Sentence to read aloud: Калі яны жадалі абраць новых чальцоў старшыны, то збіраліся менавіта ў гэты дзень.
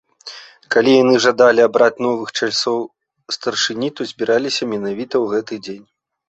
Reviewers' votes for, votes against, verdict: 1, 2, rejected